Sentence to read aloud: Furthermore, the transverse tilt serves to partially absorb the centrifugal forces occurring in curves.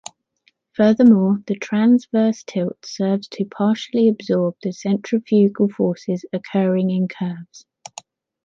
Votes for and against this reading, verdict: 2, 0, accepted